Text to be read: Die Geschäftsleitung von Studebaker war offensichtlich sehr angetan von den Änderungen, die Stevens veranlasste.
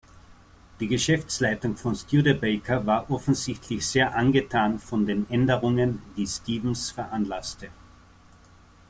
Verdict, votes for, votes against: accepted, 2, 0